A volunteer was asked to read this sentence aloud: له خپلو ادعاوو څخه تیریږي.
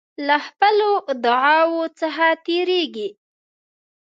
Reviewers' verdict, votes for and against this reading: accepted, 2, 0